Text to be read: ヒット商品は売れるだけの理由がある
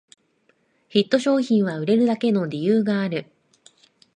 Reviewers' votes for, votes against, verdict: 2, 0, accepted